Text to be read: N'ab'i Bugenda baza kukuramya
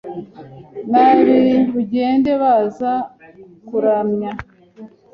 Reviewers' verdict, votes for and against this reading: rejected, 0, 2